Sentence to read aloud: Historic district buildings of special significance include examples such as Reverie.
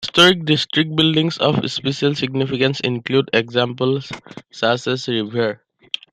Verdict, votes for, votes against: rejected, 0, 2